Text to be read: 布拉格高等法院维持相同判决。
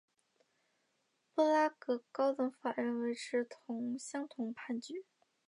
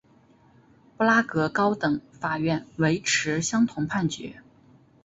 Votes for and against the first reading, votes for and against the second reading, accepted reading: 0, 2, 2, 0, second